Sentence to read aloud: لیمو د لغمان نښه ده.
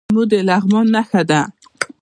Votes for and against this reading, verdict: 2, 0, accepted